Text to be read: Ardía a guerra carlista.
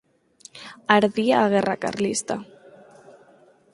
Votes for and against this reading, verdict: 4, 0, accepted